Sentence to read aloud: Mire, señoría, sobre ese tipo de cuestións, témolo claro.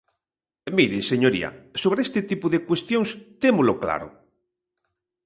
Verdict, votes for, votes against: rejected, 1, 2